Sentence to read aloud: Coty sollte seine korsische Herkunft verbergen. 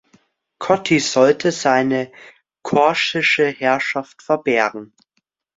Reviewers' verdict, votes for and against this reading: rejected, 0, 2